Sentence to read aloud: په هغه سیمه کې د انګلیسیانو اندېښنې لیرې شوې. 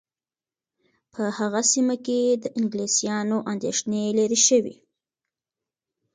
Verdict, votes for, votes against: accepted, 2, 0